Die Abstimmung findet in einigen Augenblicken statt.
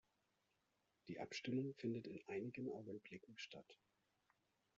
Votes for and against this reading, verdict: 0, 2, rejected